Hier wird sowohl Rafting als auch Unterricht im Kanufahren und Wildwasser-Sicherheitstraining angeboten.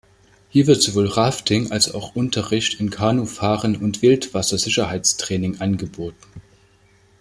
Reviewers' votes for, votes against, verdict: 1, 2, rejected